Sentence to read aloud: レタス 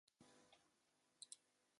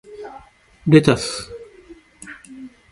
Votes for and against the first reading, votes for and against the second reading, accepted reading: 0, 2, 2, 0, second